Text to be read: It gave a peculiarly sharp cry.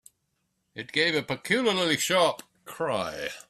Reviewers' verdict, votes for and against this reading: accepted, 2, 1